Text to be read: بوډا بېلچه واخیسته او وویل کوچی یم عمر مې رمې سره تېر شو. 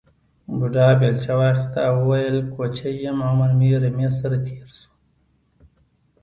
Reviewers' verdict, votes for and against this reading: accepted, 2, 0